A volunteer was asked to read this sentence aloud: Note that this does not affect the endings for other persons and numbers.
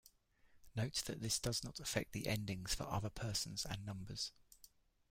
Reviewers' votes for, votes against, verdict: 2, 1, accepted